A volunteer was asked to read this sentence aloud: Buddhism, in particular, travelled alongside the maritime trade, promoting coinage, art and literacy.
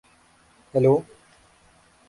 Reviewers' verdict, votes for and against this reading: rejected, 0, 2